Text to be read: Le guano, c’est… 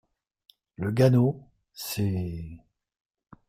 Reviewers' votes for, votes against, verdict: 1, 2, rejected